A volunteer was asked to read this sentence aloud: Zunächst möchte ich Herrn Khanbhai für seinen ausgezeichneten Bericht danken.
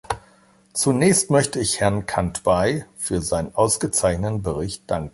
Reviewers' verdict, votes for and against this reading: rejected, 1, 2